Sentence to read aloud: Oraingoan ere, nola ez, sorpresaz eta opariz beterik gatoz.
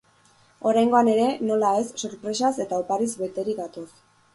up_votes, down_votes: 4, 0